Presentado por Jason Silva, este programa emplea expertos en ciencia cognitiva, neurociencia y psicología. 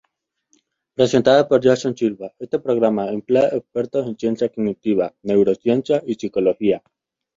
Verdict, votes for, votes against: rejected, 0, 2